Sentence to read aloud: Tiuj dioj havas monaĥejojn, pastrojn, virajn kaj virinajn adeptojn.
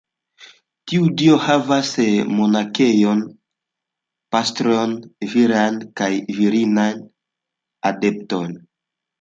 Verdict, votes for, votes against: rejected, 1, 2